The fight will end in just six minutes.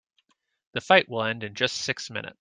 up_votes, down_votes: 2, 0